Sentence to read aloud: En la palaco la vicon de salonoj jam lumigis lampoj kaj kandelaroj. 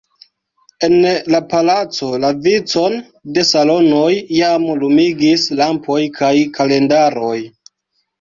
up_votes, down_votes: 0, 2